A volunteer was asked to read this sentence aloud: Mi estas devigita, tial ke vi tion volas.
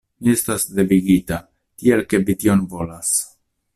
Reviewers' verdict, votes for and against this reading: accepted, 2, 0